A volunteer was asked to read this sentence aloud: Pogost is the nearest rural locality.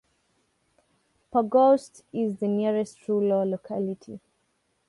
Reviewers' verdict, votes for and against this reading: rejected, 0, 2